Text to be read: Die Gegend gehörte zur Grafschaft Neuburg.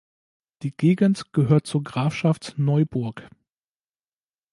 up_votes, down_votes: 0, 2